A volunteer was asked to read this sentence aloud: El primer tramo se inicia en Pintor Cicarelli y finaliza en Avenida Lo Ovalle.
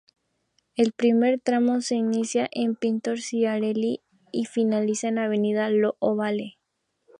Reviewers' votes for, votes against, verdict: 0, 2, rejected